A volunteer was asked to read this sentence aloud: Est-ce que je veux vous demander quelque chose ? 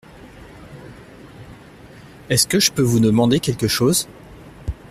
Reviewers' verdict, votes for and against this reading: rejected, 1, 2